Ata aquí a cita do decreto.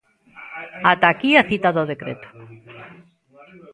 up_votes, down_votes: 0, 2